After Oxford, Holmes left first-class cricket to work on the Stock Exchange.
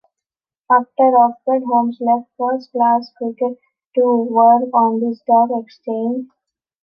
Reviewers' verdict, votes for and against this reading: accepted, 2, 0